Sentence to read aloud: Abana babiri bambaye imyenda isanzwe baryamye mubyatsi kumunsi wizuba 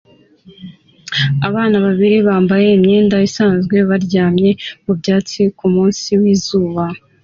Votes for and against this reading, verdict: 2, 0, accepted